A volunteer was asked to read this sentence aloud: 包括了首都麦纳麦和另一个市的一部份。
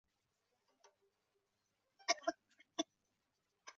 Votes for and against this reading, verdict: 0, 2, rejected